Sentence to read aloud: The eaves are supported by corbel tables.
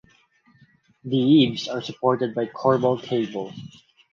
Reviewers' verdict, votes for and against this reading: rejected, 4, 4